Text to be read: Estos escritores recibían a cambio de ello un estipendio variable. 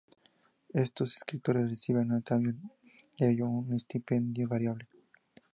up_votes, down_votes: 2, 2